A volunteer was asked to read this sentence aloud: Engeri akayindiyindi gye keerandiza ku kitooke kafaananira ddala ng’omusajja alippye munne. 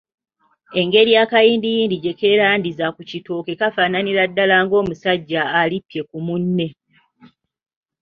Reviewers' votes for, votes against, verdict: 0, 2, rejected